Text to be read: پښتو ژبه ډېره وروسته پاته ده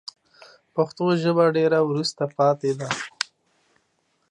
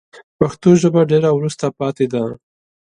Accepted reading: second